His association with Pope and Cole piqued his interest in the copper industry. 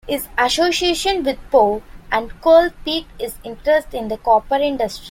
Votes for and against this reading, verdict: 0, 2, rejected